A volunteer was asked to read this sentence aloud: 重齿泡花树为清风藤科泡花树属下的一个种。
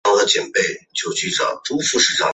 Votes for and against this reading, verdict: 0, 3, rejected